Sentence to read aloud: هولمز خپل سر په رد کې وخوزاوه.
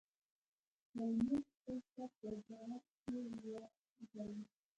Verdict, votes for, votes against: rejected, 1, 2